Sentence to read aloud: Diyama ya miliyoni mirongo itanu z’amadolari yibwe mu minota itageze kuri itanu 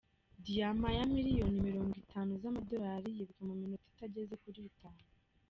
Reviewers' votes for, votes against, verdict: 0, 2, rejected